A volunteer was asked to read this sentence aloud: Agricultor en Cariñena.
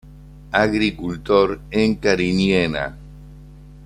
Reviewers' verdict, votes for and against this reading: accepted, 2, 0